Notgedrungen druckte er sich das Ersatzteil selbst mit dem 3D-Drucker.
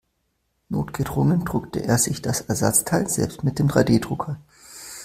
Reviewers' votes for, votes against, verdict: 0, 2, rejected